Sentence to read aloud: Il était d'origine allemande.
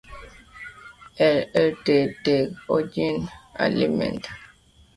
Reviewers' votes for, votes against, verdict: 1, 2, rejected